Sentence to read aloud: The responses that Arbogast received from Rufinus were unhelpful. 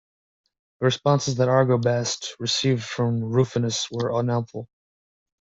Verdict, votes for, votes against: rejected, 2, 3